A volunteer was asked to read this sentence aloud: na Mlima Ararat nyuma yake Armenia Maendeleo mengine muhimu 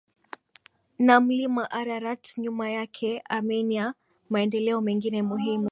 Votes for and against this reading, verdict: 6, 2, accepted